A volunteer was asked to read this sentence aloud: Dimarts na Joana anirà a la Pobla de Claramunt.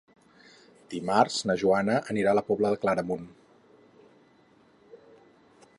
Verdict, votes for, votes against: accepted, 8, 0